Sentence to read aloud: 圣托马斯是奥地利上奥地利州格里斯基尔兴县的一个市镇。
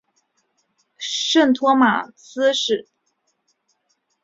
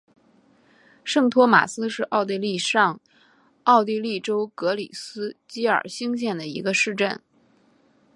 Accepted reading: second